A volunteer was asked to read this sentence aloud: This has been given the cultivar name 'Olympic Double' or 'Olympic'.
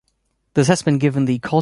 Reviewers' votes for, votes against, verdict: 0, 2, rejected